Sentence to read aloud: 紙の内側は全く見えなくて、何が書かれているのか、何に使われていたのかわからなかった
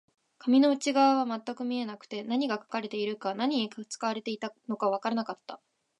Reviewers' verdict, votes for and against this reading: accepted, 2, 0